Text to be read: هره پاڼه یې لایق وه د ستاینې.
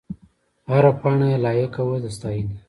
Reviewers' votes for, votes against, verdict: 1, 2, rejected